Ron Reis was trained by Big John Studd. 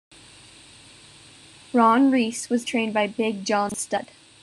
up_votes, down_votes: 2, 0